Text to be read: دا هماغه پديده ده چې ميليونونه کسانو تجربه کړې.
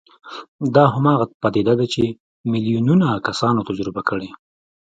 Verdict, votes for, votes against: accepted, 2, 0